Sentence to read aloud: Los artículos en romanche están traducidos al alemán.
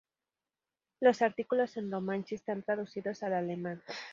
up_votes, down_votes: 2, 0